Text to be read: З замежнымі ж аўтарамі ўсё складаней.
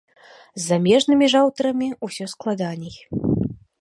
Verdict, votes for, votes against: accepted, 2, 0